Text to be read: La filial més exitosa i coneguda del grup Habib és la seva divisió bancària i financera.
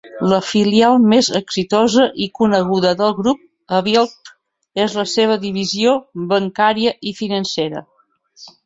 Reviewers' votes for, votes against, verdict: 1, 2, rejected